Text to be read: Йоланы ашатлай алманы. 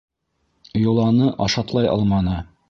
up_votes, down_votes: 2, 0